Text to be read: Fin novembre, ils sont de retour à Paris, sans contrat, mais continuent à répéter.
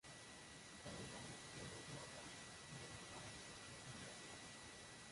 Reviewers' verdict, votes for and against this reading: rejected, 0, 2